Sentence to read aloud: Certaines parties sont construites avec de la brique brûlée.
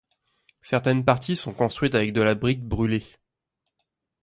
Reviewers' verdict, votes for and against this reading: accepted, 2, 0